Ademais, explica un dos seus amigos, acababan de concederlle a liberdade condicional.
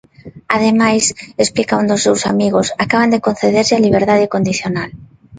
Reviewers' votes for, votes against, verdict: 1, 2, rejected